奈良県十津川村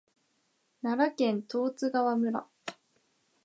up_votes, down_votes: 2, 0